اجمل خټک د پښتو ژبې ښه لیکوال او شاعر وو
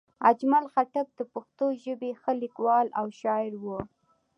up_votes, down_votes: 2, 0